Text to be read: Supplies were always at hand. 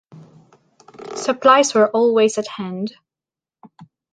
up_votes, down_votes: 2, 0